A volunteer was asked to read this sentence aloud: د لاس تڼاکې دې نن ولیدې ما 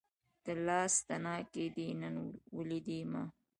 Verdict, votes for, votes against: accepted, 2, 0